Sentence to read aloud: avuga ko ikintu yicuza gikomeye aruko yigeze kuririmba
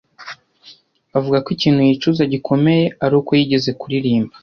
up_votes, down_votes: 2, 0